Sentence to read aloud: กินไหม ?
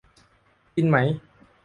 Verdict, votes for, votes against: accepted, 2, 1